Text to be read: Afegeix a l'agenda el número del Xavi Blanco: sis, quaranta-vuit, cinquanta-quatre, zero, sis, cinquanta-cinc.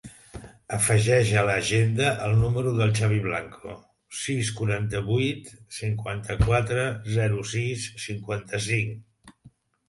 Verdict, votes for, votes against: accepted, 3, 0